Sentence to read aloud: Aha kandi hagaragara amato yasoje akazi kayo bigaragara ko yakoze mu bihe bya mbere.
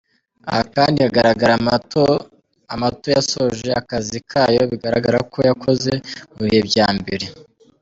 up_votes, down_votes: 0, 2